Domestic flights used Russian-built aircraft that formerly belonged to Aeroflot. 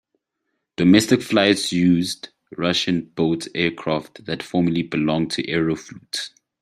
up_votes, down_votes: 2, 0